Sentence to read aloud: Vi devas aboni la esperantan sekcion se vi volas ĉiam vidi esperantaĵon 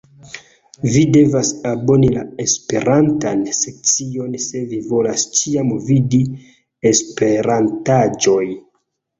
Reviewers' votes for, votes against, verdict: 0, 2, rejected